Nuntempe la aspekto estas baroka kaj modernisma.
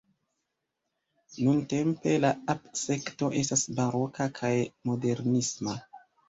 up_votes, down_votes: 1, 2